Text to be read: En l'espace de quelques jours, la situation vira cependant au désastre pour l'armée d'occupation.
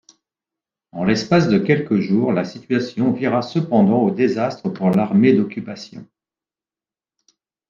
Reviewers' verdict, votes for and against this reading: accepted, 2, 0